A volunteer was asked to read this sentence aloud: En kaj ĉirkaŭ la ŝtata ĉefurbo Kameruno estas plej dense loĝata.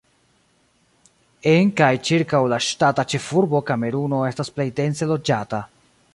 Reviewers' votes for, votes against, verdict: 2, 0, accepted